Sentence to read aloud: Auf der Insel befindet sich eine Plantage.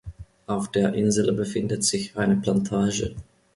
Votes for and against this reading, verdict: 2, 0, accepted